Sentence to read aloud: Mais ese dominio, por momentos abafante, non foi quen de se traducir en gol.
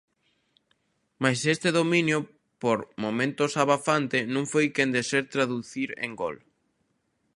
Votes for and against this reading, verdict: 0, 2, rejected